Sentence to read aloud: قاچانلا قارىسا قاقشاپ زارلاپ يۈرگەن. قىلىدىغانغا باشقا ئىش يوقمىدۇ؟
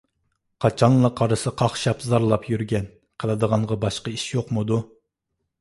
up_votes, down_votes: 2, 0